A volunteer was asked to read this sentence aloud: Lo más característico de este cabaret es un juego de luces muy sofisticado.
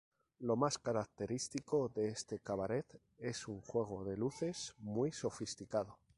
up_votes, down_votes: 0, 2